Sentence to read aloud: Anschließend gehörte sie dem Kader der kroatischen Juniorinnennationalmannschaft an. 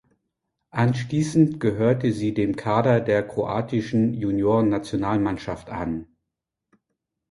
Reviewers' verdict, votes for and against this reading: rejected, 1, 2